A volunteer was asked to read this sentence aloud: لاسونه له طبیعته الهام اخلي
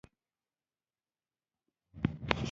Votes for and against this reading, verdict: 2, 1, accepted